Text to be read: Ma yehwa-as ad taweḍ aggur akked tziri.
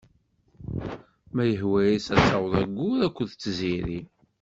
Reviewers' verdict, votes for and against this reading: accepted, 2, 0